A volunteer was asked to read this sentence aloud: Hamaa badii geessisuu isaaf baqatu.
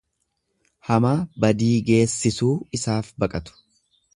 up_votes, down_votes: 2, 0